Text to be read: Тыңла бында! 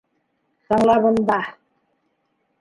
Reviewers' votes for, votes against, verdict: 2, 0, accepted